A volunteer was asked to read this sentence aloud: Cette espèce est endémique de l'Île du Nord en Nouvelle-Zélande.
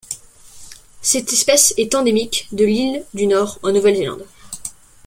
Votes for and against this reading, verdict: 2, 0, accepted